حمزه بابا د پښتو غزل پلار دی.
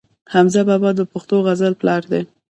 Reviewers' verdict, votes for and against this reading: rejected, 0, 2